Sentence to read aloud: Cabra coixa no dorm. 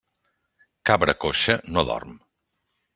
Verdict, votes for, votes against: accepted, 3, 0